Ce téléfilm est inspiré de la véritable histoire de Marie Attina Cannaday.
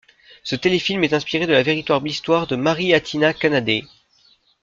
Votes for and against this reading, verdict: 0, 2, rejected